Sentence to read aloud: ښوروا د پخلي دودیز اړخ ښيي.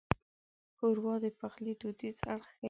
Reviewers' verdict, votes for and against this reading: rejected, 1, 2